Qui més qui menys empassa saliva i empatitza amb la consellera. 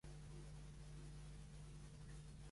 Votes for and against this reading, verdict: 1, 2, rejected